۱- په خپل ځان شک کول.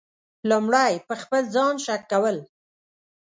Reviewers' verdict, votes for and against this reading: rejected, 0, 2